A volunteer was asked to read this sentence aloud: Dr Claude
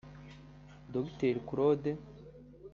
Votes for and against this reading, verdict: 1, 2, rejected